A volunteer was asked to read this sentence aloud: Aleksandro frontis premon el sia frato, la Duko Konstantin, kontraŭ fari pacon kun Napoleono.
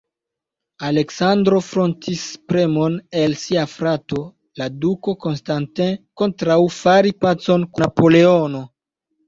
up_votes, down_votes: 1, 2